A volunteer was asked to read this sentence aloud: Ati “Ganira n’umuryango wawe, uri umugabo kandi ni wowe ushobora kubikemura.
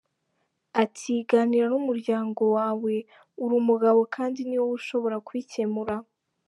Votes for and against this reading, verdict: 2, 0, accepted